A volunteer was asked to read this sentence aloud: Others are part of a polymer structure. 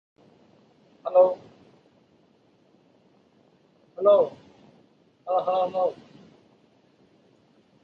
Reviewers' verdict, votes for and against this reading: rejected, 1, 2